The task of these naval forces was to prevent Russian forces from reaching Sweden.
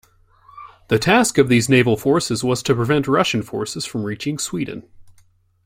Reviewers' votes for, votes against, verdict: 2, 0, accepted